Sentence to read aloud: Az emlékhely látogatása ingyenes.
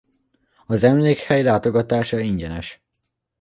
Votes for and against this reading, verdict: 2, 0, accepted